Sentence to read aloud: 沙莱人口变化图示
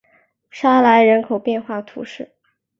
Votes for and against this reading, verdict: 2, 1, accepted